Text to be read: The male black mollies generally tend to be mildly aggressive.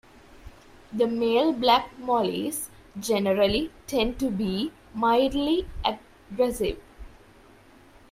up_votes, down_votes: 0, 2